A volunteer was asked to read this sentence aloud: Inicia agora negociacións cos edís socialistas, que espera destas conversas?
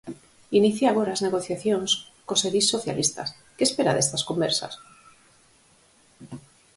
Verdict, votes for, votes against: rejected, 2, 4